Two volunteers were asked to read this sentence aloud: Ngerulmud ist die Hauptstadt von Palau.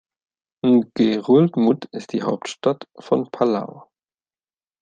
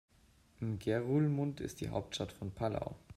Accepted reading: first